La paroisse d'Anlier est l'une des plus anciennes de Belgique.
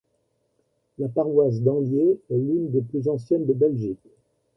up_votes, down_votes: 2, 0